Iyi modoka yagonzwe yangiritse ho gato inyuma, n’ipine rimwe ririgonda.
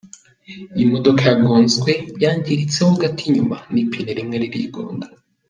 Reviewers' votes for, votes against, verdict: 2, 0, accepted